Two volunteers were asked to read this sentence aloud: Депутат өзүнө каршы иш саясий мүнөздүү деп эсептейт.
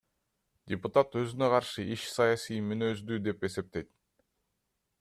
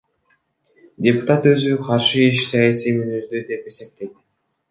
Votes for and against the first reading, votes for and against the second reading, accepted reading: 2, 0, 0, 2, first